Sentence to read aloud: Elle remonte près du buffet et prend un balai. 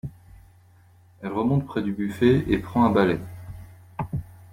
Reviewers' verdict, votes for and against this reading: accepted, 2, 0